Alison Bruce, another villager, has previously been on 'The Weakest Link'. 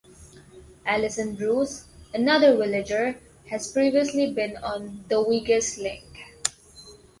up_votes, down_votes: 0, 2